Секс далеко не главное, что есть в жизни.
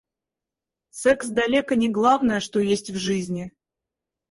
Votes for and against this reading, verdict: 2, 4, rejected